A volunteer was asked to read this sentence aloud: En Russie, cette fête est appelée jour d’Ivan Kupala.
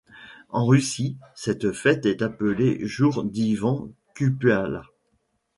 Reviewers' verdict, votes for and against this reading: rejected, 0, 2